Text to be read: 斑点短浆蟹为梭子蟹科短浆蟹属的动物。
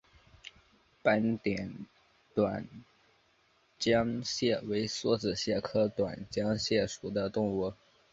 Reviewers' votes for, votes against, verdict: 4, 2, accepted